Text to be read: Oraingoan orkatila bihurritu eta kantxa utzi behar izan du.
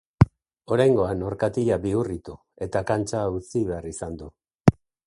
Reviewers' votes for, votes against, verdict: 2, 0, accepted